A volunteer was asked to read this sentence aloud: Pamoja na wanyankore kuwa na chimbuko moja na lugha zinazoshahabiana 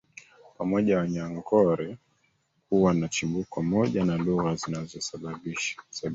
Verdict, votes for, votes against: rejected, 1, 2